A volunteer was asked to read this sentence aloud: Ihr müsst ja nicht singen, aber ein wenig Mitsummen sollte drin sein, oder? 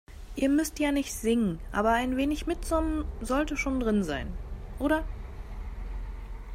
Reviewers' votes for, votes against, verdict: 1, 2, rejected